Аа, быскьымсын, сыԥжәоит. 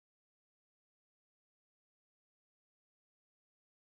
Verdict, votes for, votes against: rejected, 0, 2